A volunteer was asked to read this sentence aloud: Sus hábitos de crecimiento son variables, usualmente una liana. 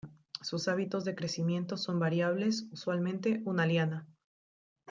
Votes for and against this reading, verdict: 2, 0, accepted